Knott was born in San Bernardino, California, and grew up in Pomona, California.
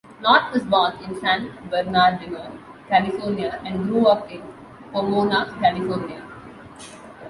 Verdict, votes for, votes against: accepted, 2, 1